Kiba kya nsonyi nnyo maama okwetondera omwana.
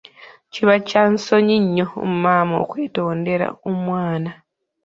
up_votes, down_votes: 2, 0